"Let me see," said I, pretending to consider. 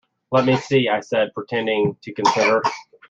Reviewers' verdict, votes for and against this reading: rejected, 0, 2